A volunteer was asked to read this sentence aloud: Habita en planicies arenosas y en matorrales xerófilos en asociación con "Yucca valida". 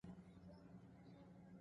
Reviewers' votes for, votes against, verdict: 0, 2, rejected